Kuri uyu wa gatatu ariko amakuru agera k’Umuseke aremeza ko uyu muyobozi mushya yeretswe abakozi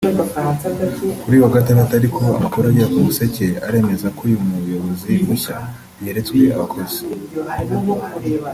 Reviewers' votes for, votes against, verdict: 0, 2, rejected